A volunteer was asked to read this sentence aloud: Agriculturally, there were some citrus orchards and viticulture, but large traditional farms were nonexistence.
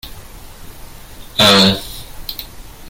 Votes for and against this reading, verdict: 0, 2, rejected